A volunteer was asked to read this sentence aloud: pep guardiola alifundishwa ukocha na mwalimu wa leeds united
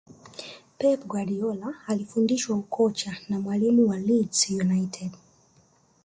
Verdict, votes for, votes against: rejected, 1, 2